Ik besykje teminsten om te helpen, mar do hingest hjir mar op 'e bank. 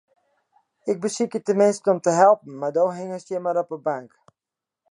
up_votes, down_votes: 2, 0